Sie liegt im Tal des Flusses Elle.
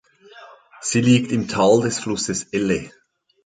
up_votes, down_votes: 2, 0